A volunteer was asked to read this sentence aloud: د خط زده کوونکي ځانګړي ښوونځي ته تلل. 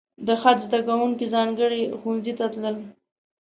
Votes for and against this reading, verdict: 2, 0, accepted